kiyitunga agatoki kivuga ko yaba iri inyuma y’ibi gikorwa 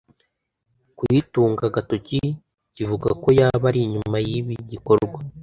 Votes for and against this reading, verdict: 1, 2, rejected